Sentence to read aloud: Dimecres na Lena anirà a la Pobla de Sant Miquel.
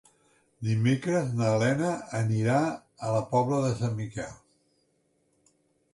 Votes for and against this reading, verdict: 4, 0, accepted